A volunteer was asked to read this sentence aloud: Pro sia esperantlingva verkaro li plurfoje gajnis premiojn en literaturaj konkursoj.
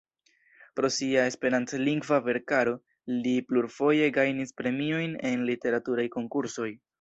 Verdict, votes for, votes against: accepted, 2, 0